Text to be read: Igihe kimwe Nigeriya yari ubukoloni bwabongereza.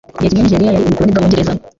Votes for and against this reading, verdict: 1, 2, rejected